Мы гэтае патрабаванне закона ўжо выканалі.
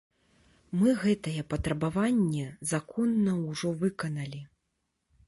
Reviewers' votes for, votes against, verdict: 1, 2, rejected